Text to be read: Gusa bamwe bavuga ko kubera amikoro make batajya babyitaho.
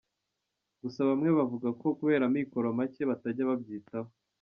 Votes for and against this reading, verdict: 2, 0, accepted